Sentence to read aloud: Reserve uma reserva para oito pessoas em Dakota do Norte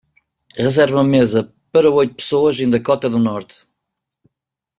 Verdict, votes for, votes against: rejected, 1, 2